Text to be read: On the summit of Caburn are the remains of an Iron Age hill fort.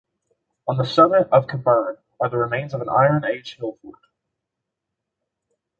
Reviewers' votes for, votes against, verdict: 0, 2, rejected